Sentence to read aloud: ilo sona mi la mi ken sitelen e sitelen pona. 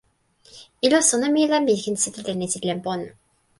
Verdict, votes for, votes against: rejected, 1, 2